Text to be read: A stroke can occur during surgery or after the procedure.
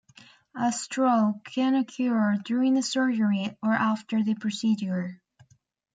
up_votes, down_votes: 2, 0